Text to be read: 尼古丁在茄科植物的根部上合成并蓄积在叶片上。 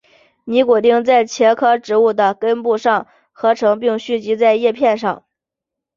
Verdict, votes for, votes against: accepted, 2, 0